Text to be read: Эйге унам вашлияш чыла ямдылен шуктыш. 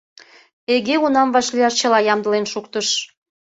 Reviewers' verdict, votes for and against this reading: accepted, 2, 1